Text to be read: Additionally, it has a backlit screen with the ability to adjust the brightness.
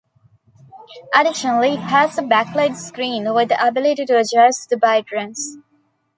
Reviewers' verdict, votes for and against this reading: rejected, 1, 2